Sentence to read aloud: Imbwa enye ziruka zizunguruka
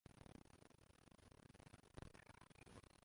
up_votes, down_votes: 0, 2